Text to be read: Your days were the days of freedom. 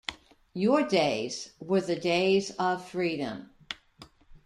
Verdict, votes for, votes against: accepted, 2, 0